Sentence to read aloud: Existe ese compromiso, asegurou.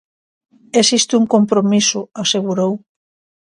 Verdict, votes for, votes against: rejected, 1, 2